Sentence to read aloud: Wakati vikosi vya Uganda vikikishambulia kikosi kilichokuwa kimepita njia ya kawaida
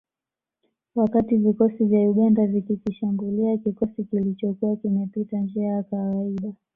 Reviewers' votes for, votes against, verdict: 2, 0, accepted